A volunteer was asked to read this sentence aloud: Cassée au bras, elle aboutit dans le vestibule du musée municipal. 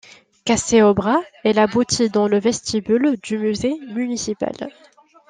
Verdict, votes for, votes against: accepted, 2, 1